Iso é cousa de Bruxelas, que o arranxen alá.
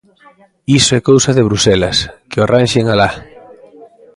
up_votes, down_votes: 1, 2